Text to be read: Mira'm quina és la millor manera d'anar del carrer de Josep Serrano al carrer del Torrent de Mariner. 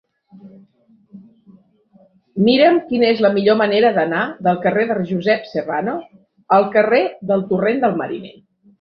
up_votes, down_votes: 1, 2